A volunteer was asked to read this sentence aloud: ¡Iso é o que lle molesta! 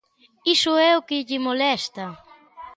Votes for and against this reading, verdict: 2, 1, accepted